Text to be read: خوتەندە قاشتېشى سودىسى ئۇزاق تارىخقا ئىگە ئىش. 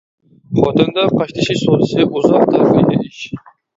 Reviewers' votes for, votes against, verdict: 0, 2, rejected